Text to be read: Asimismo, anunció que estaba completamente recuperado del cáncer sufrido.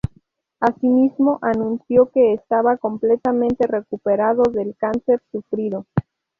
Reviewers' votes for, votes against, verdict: 2, 0, accepted